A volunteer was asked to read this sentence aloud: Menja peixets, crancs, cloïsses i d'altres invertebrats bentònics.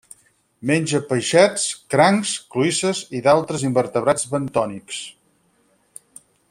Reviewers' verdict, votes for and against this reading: accepted, 4, 0